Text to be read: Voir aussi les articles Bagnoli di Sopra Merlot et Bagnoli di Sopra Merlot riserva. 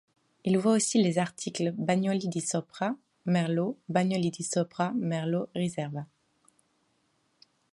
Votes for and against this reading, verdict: 1, 2, rejected